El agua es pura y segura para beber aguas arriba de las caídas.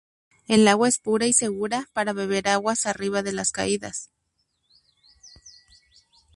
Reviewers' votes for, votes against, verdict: 2, 0, accepted